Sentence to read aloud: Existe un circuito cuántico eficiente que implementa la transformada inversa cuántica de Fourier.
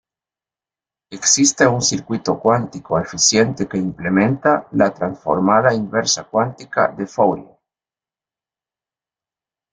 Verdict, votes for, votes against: accepted, 2, 0